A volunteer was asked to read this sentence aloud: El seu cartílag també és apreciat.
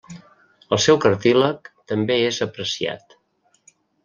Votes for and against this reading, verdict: 2, 0, accepted